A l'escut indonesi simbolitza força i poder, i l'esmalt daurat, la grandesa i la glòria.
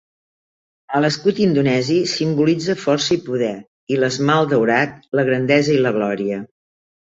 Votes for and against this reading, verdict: 14, 0, accepted